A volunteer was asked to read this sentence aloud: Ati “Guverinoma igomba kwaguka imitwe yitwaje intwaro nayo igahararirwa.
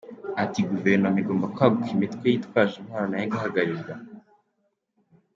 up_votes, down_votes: 2, 0